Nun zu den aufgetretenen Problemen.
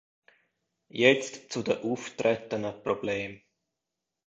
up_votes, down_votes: 0, 2